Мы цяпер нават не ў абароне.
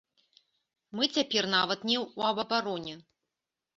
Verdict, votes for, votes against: rejected, 1, 2